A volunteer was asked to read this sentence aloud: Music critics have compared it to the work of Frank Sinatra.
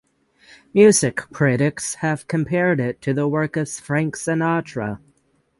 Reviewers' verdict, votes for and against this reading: rejected, 3, 3